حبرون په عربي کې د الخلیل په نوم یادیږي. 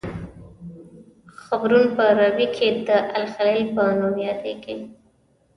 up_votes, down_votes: 0, 2